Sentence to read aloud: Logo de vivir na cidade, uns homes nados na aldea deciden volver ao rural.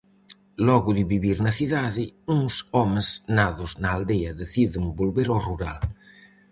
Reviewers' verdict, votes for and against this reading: accepted, 4, 0